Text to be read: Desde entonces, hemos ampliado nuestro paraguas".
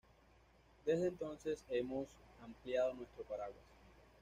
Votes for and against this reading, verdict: 1, 2, rejected